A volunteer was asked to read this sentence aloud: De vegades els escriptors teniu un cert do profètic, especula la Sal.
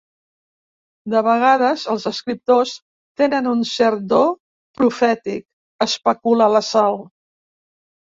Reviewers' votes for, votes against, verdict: 1, 2, rejected